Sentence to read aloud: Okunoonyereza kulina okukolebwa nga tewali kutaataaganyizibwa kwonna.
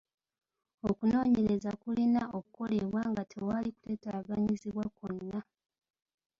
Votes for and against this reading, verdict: 1, 2, rejected